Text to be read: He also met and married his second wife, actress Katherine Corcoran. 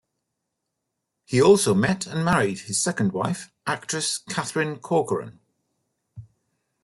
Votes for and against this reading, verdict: 2, 0, accepted